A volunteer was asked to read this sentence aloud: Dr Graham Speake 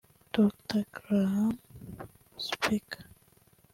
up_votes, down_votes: 1, 2